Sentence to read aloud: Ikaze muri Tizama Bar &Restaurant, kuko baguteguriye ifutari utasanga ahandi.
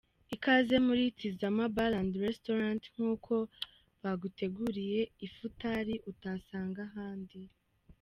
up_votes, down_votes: 2, 0